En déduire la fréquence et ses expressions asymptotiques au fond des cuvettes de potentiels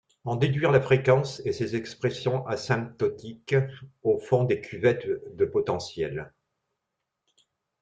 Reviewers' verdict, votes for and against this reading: accepted, 2, 0